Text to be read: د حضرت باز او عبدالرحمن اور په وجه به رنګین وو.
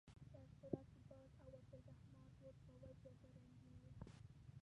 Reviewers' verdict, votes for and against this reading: rejected, 0, 3